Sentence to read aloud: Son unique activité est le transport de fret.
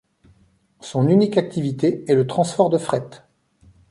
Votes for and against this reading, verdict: 1, 2, rejected